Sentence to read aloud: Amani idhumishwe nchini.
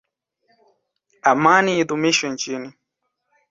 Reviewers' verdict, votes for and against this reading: accepted, 2, 0